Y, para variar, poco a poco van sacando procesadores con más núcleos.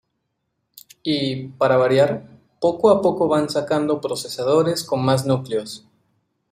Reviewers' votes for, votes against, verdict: 2, 0, accepted